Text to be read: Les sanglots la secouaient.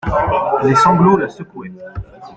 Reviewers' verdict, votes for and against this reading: accepted, 2, 0